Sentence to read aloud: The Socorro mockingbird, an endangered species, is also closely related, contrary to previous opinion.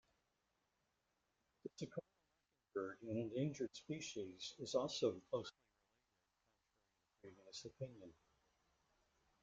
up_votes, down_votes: 0, 2